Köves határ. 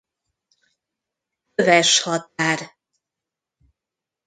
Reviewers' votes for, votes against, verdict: 0, 2, rejected